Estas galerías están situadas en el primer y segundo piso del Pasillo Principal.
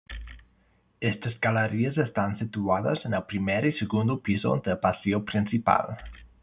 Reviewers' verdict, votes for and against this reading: rejected, 0, 2